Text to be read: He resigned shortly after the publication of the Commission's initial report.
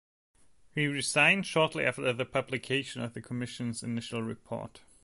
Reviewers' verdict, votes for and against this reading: accepted, 2, 0